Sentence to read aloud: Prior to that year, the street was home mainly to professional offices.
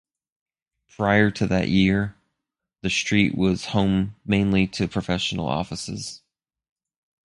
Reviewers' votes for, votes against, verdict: 4, 0, accepted